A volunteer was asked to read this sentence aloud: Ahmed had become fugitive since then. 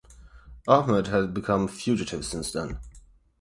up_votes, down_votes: 8, 0